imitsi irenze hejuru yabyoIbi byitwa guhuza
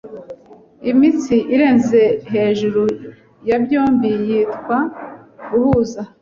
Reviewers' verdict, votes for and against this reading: rejected, 0, 2